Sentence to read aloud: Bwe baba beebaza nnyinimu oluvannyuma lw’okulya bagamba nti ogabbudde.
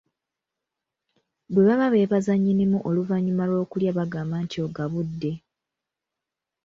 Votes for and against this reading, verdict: 2, 0, accepted